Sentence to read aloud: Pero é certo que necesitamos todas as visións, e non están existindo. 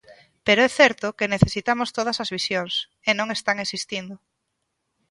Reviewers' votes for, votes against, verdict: 2, 0, accepted